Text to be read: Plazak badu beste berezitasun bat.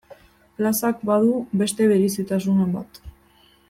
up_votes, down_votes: 1, 2